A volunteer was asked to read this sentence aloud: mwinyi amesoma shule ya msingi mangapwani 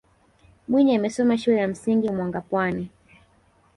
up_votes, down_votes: 2, 0